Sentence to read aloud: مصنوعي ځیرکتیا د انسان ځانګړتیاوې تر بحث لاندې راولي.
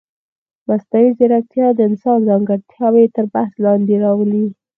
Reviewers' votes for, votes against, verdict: 4, 0, accepted